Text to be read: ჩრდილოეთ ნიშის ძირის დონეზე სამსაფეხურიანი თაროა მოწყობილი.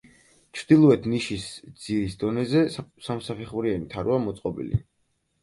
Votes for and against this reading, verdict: 0, 4, rejected